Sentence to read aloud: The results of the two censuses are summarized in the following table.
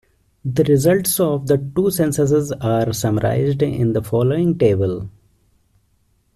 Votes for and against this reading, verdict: 2, 0, accepted